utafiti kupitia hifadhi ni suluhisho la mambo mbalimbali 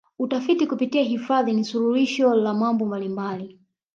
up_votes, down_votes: 1, 2